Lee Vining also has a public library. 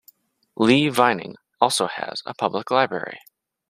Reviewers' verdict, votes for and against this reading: accepted, 2, 0